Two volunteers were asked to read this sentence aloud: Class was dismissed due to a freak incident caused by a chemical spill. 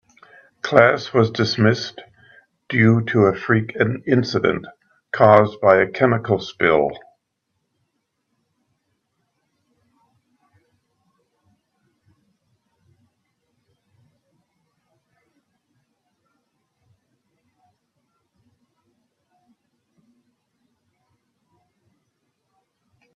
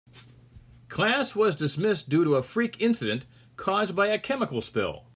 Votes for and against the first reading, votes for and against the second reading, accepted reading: 0, 2, 3, 0, second